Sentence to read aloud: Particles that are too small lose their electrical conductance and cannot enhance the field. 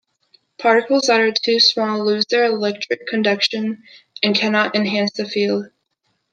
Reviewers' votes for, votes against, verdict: 1, 2, rejected